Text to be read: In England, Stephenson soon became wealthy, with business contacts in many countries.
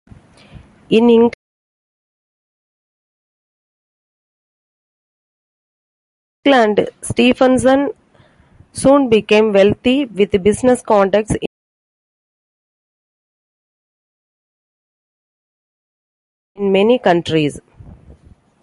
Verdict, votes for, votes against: rejected, 0, 2